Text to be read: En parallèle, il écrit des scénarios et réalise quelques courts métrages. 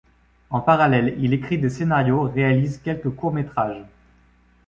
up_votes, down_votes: 1, 2